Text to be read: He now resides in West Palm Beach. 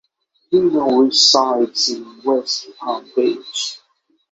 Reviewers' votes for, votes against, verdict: 6, 0, accepted